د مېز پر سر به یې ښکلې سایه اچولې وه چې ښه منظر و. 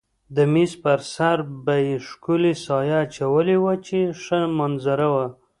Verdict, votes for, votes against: rejected, 1, 2